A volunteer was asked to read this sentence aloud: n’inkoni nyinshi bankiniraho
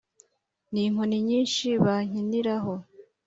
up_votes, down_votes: 2, 0